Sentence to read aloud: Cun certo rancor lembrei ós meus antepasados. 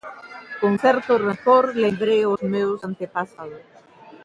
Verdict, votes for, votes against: accepted, 2, 0